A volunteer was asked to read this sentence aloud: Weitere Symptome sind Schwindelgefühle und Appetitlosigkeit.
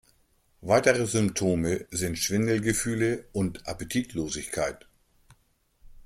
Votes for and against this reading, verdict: 2, 0, accepted